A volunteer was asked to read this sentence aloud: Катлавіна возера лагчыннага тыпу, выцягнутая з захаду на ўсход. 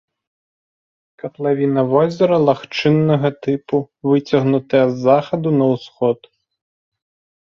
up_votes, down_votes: 3, 0